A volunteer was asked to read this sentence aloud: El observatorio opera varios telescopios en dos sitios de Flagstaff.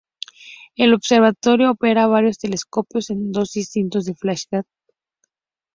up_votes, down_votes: 2, 2